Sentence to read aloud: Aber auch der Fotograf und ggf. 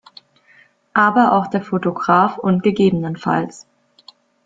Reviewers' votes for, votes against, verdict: 2, 0, accepted